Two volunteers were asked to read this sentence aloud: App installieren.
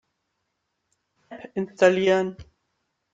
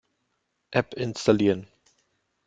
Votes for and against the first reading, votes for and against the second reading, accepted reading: 1, 3, 2, 0, second